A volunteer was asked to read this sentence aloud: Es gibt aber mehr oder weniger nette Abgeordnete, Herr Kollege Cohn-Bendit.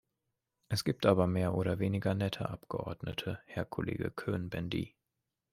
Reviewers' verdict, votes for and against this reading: rejected, 1, 2